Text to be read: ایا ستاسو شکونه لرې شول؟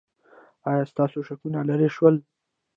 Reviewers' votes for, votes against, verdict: 1, 2, rejected